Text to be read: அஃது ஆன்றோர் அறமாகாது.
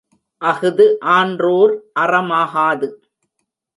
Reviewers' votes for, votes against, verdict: 0, 2, rejected